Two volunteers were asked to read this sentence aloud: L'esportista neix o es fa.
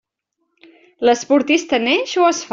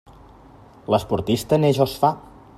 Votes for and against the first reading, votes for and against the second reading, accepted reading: 1, 2, 2, 0, second